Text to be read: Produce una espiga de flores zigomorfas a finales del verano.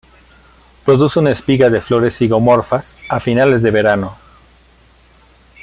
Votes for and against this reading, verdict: 2, 0, accepted